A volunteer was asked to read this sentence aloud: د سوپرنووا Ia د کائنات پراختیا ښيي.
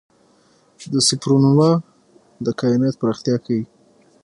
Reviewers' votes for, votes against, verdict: 6, 0, accepted